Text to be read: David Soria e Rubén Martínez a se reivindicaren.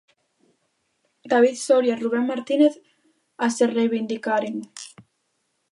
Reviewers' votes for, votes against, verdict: 2, 0, accepted